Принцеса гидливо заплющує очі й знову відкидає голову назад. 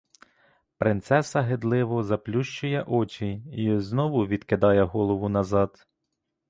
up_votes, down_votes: 2, 0